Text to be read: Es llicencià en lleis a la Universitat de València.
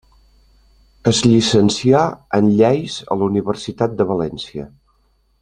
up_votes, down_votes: 3, 0